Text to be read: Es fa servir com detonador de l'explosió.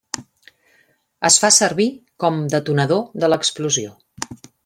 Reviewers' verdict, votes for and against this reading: accepted, 3, 0